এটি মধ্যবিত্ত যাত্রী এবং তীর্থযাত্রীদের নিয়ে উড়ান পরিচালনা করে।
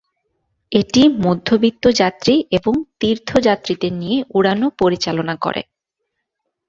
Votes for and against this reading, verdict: 0, 2, rejected